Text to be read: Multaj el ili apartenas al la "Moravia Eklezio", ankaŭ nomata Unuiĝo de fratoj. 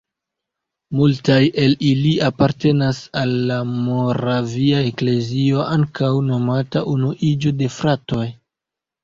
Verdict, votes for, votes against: accepted, 2, 1